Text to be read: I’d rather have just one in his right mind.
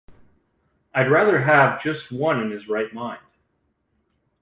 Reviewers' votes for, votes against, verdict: 2, 0, accepted